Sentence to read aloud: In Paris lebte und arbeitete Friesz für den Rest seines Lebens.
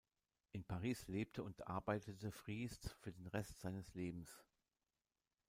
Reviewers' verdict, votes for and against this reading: rejected, 1, 2